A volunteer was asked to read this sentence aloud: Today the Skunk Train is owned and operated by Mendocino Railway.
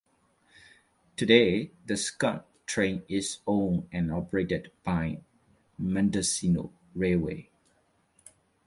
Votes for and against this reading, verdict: 2, 0, accepted